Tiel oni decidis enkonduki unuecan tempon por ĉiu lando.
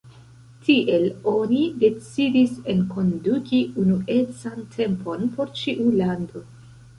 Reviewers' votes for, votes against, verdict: 2, 0, accepted